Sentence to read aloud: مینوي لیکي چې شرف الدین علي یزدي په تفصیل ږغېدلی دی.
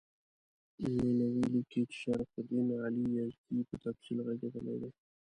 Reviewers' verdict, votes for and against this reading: rejected, 0, 2